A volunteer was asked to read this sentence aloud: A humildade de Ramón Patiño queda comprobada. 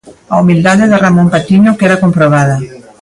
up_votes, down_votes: 2, 1